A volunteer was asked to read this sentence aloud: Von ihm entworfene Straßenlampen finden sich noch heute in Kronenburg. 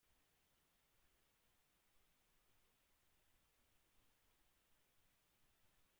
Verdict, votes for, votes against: rejected, 0, 2